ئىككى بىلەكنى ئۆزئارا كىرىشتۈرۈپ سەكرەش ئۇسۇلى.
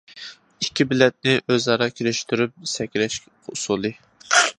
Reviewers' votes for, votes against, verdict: 2, 1, accepted